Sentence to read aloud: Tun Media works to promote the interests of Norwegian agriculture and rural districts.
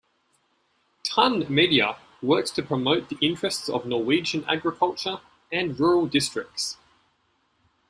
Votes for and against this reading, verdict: 2, 0, accepted